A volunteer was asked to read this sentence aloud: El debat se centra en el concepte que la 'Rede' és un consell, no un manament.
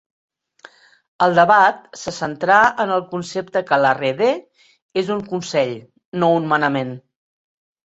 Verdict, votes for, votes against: rejected, 1, 2